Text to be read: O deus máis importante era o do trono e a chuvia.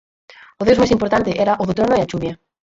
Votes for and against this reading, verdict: 0, 10, rejected